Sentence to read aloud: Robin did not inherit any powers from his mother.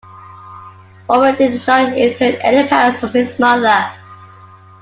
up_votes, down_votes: 0, 2